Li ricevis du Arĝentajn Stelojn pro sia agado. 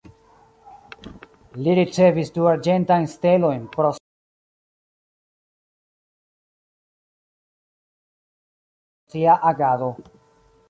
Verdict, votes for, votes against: rejected, 1, 2